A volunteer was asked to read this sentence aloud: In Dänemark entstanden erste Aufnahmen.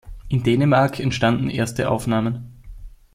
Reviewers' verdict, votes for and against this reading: accepted, 2, 0